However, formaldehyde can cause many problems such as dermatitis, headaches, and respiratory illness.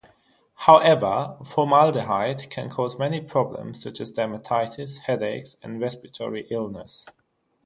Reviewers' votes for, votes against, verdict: 3, 0, accepted